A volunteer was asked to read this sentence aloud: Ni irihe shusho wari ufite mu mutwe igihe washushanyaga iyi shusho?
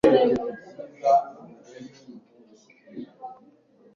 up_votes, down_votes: 1, 2